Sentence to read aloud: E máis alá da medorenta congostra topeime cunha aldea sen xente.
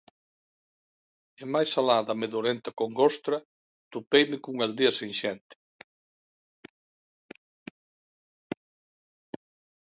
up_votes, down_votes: 2, 0